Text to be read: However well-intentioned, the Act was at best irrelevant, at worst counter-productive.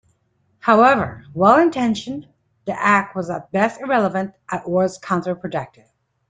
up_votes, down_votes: 2, 0